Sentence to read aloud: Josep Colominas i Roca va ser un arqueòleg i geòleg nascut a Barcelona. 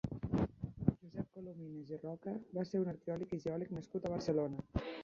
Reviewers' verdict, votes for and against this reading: rejected, 0, 2